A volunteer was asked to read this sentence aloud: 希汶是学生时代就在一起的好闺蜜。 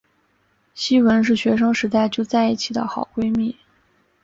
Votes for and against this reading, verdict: 1, 2, rejected